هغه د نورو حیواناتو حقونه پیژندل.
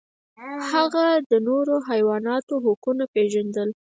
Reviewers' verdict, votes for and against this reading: rejected, 0, 4